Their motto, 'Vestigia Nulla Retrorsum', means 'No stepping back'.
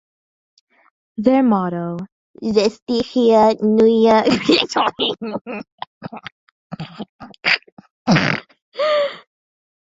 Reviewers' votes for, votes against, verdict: 0, 2, rejected